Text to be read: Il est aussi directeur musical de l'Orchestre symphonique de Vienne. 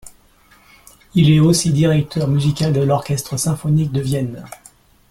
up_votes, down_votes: 2, 0